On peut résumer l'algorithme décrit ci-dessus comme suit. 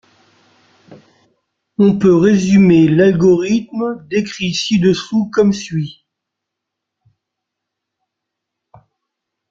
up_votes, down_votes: 0, 2